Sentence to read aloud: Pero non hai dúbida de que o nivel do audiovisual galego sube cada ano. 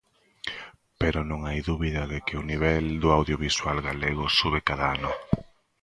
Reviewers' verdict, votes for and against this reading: accepted, 2, 1